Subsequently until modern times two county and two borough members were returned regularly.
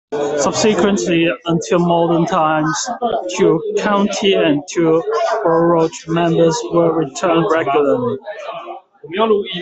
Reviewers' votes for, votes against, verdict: 0, 2, rejected